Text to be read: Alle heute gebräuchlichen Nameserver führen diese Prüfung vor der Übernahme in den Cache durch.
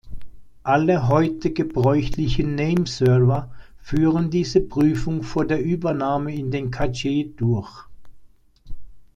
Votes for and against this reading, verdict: 0, 2, rejected